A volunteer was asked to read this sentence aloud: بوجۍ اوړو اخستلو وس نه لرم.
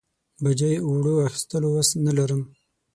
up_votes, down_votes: 6, 0